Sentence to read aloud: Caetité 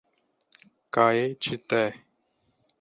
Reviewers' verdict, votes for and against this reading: accepted, 2, 0